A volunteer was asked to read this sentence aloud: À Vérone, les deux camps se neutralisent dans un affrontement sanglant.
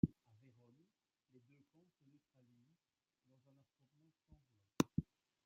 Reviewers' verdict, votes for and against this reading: rejected, 1, 2